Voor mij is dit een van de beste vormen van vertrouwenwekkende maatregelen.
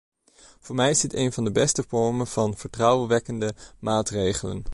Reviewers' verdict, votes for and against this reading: accepted, 2, 0